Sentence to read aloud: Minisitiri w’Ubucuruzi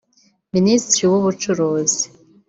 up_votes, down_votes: 2, 0